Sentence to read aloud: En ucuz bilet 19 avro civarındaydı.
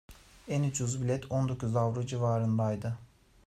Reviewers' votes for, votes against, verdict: 0, 2, rejected